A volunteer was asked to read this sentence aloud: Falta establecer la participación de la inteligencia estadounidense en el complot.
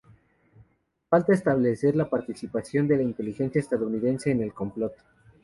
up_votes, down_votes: 4, 0